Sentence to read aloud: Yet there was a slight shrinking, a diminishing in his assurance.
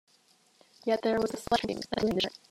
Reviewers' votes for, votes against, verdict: 1, 2, rejected